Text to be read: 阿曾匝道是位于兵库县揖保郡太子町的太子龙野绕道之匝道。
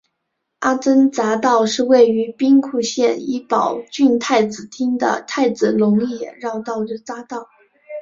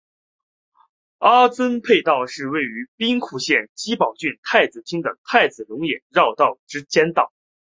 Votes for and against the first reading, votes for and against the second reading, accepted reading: 1, 2, 3, 0, second